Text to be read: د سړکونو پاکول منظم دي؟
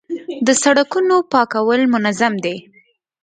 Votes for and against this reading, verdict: 1, 2, rejected